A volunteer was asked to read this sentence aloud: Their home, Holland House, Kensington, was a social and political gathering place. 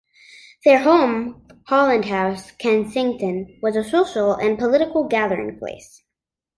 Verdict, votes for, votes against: accepted, 2, 0